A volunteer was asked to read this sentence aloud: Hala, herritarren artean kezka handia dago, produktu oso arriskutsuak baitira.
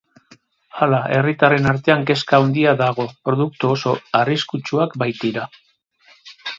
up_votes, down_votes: 0, 2